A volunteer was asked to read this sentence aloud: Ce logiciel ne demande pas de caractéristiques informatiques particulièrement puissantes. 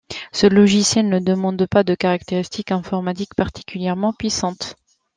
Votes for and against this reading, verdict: 2, 1, accepted